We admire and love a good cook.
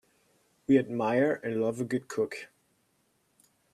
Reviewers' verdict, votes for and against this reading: accepted, 2, 0